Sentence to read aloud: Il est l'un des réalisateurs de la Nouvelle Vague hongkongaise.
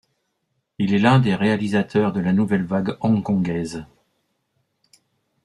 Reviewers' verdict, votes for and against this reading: accepted, 2, 0